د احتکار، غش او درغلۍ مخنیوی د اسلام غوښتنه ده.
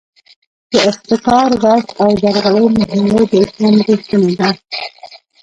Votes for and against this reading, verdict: 0, 2, rejected